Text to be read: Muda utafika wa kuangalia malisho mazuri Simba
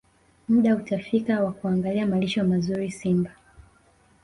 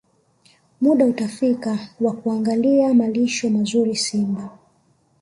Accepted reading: first